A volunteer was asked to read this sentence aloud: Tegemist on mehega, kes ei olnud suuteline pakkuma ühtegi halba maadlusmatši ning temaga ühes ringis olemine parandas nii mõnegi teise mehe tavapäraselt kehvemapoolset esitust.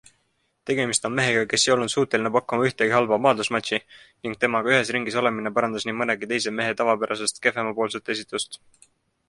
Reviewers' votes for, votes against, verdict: 2, 1, accepted